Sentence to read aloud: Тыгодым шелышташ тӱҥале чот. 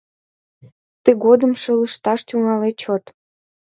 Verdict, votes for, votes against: accepted, 2, 0